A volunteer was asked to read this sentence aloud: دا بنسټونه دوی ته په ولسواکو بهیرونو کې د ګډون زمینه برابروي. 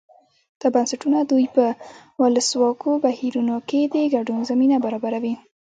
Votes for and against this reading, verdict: 0, 2, rejected